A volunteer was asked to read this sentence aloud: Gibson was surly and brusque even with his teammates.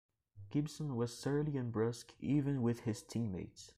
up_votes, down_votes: 1, 2